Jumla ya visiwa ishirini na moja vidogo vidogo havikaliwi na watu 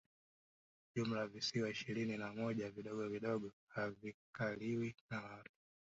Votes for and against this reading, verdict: 1, 2, rejected